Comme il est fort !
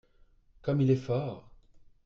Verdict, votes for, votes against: accepted, 2, 0